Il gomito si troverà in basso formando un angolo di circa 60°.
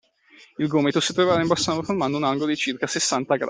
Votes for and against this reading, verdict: 0, 2, rejected